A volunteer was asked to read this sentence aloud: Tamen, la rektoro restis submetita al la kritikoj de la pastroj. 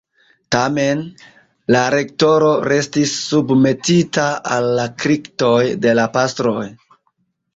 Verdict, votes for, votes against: rejected, 1, 2